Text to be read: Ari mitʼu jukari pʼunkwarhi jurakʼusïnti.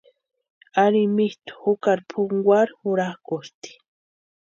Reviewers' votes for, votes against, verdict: 0, 2, rejected